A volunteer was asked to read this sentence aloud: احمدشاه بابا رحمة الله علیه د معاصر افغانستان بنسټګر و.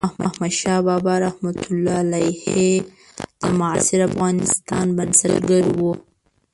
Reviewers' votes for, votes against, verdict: 1, 2, rejected